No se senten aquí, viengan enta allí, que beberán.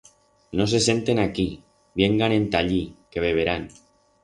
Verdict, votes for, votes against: accepted, 4, 0